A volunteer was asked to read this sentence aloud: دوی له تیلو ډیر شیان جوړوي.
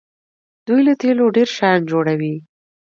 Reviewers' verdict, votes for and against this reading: accepted, 2, 0